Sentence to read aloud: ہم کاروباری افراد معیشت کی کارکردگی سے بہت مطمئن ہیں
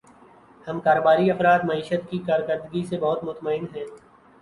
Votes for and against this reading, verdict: 14, 0, accepted